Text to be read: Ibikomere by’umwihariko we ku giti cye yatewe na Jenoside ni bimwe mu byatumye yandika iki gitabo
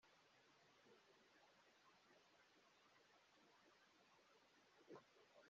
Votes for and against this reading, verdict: 2, 0, accepted